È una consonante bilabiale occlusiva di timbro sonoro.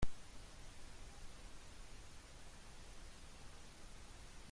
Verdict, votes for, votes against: rejected, 0, 2